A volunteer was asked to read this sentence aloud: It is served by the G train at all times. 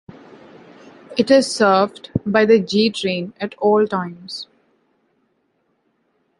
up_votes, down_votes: 2, 0